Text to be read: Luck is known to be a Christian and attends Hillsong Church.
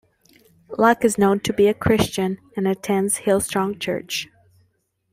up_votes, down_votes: 0, 2